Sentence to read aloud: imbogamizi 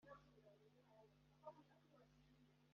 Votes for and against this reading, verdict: 1, 2, rejected